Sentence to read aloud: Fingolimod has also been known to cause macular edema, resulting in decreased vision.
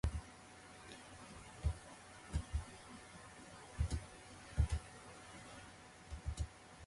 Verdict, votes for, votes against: rejected, 0, 4